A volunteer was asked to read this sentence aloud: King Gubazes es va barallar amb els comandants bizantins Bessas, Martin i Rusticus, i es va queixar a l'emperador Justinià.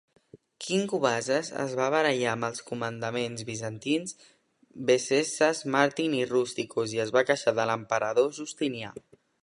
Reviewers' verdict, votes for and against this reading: rejected, 0, 2